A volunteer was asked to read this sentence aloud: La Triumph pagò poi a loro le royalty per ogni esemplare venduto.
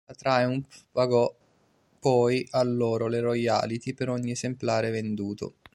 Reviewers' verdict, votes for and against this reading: rejected, 1, 2